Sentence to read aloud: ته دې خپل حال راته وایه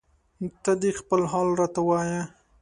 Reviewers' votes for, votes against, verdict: 2, 0, accepted